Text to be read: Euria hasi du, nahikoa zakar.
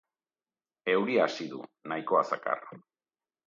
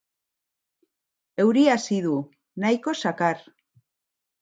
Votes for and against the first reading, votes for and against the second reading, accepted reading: 2, 0, 1, 2, first